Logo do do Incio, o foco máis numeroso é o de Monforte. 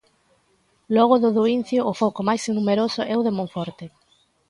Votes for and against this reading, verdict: 2, 0, accepted